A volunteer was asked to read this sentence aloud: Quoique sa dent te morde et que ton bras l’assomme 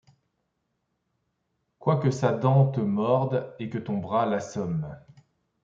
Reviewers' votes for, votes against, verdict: 2, 0, accepted